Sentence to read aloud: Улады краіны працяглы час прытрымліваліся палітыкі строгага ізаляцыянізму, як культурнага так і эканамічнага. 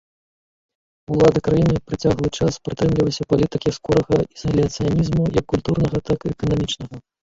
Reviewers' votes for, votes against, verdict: 0, 2, rejected